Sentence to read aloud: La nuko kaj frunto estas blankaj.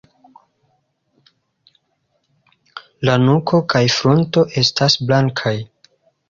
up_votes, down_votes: 2, 1